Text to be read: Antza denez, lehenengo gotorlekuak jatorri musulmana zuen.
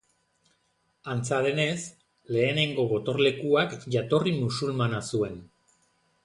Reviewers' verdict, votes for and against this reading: accepted, 2, 0